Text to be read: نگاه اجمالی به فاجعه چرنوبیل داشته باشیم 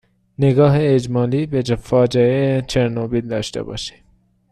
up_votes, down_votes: 0, 2